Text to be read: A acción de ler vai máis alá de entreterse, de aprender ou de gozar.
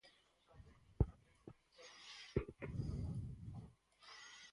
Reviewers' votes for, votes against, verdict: 0, 4, rejected